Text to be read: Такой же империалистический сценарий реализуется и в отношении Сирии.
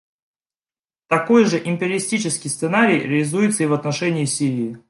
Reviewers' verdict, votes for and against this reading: rejected, 1, 2